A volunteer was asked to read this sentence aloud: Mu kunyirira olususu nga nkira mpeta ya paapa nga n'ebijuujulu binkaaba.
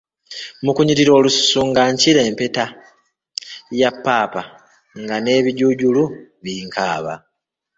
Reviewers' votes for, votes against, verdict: 0, 2, rejected